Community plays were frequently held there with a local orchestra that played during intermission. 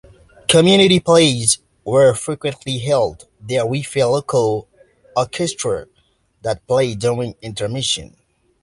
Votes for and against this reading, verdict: 2, 1, accepted